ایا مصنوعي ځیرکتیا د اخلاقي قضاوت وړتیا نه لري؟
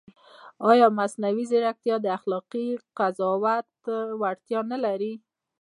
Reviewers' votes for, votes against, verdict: 2, 1, accepted